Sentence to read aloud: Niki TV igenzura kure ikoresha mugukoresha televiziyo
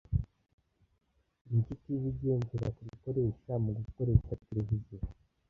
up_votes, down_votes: 0, 2